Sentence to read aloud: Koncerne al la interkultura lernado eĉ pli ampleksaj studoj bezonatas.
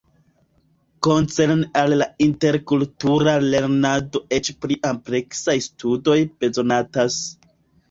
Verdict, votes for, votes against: rejected, 0, 2